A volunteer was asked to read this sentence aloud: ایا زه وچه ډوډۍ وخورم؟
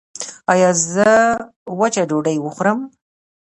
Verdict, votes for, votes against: rejected, 1, 2